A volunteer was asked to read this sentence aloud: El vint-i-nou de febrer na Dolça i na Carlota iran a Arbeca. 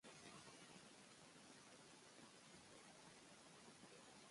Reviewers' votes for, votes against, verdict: 0, 2, rejected